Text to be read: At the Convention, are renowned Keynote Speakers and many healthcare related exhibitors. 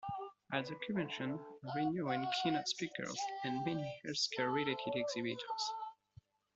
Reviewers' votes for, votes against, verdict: 0, 2, rejected